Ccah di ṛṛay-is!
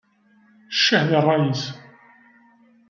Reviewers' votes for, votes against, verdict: 2, 0, accepted